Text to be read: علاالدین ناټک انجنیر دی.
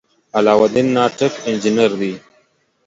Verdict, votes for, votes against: accepted, 2, 0